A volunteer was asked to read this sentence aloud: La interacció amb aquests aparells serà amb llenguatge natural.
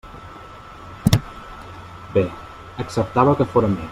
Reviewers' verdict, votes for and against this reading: rejected, 0, 2